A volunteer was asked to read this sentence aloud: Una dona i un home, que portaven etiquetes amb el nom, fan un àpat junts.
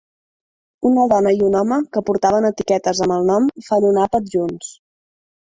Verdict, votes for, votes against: rejected, 1, 2